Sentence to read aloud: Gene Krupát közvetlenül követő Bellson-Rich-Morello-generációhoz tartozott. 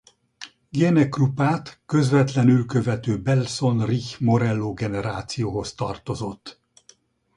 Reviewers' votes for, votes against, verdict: 0, 2, rejected